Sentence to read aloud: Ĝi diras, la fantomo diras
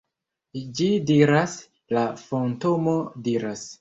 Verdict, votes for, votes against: rejected, 1, 2